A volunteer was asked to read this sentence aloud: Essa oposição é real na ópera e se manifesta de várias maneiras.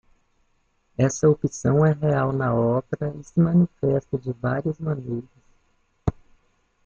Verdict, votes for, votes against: rejected, 1, 2